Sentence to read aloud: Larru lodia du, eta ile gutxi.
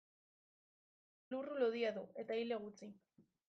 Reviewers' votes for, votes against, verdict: 0, 2, rejected